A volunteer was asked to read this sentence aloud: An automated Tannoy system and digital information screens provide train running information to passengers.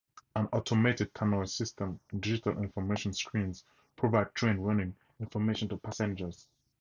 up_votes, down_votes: 4, 0